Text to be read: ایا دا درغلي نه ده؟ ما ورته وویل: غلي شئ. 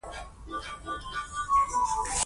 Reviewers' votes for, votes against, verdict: 2, 1, accepted